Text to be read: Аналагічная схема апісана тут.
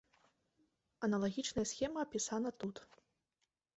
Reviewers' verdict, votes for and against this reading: accepted, 2, 0